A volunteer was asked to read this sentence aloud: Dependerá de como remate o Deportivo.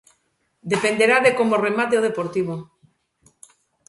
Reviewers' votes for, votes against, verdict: 2, 0, accepted